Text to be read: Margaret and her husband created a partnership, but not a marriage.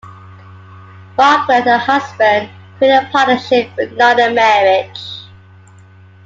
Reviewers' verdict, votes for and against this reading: accepted, 2, 1